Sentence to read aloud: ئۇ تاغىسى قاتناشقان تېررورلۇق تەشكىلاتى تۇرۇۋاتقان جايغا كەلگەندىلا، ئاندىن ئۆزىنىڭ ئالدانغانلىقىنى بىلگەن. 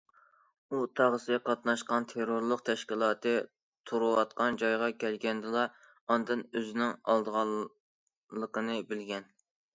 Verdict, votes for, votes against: rejected, 0, 2